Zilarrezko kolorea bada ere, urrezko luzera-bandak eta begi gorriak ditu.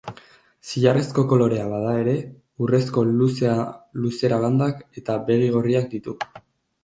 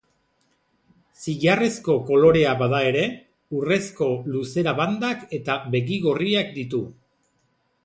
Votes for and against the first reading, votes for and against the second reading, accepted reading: 2, 5, 2, 0, second